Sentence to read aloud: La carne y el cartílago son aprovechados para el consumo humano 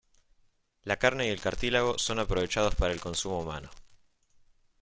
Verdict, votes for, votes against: accepted, 2, 0